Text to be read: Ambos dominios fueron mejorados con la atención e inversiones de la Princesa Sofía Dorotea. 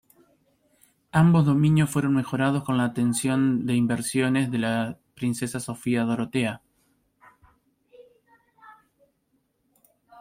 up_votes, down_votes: 0, 2